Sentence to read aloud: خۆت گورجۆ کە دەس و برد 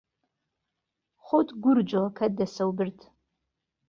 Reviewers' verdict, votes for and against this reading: rejected, 0, 2